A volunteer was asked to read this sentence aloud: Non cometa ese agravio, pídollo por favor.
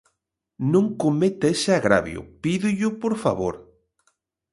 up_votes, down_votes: 2, 0